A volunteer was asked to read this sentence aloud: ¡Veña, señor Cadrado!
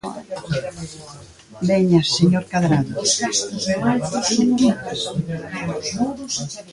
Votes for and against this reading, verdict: 0, 2, rejected